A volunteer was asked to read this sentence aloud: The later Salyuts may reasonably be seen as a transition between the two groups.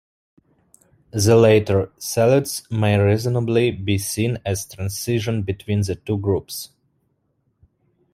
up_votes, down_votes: 1, 2